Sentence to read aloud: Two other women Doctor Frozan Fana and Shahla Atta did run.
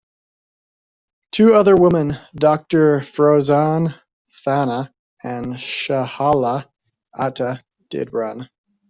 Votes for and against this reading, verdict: 0, 2, rejected